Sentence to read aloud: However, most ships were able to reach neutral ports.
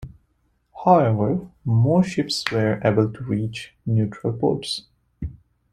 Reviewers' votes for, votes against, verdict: 2, 0, accepted